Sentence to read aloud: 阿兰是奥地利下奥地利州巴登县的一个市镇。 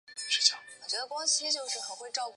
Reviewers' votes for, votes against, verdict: 0, 4, rejected